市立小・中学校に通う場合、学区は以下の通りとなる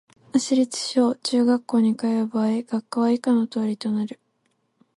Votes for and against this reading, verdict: 2, 4, rejected